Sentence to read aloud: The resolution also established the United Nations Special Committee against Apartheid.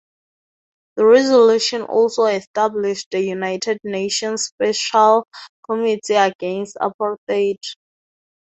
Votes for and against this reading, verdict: 2, 2, rejected